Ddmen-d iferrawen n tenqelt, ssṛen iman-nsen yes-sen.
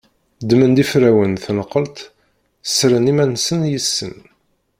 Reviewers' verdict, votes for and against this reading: rejected, 1, 2